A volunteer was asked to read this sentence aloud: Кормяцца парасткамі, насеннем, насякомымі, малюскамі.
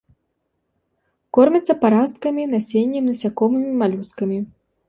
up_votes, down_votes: 2, 1